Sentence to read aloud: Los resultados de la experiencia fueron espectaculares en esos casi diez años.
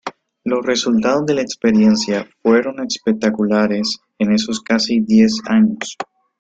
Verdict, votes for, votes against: rejected, 0, 2